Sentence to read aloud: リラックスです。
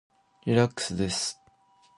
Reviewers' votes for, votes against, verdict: 0, 2, rejected